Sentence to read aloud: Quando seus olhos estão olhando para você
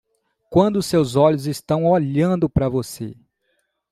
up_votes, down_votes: 1, 2